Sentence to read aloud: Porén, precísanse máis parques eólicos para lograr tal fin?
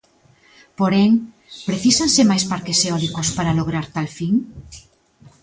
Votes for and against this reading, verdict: 2, 0, accepted